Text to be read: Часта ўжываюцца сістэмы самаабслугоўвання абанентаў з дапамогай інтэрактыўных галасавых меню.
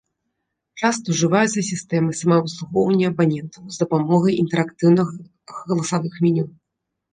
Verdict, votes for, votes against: accepted, 2, 0